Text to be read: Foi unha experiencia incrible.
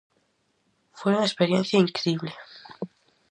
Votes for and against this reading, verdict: 4, 0, accepted